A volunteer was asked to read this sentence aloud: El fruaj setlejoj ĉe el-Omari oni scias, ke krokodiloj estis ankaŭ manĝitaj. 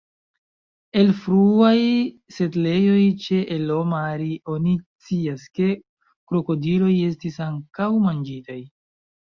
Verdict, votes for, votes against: accepted, 2, 0